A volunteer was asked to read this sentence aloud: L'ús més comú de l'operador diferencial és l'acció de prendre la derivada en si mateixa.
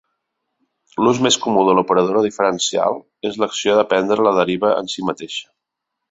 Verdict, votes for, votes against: rejected, 0, 2